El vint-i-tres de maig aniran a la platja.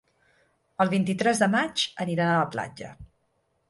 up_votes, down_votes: 3, 6